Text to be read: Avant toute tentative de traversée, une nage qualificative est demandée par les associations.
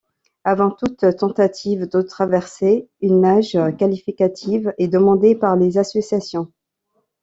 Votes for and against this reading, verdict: 0, 2, rejected